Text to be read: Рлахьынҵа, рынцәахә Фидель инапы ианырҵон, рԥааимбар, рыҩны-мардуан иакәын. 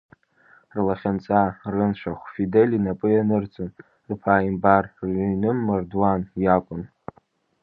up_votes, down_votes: 1, 2